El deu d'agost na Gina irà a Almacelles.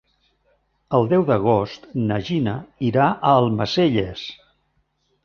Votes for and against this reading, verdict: 2, 0, accepted